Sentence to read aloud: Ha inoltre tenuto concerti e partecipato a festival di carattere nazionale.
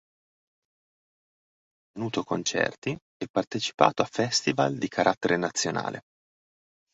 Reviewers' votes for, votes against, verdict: 0, 2, rejected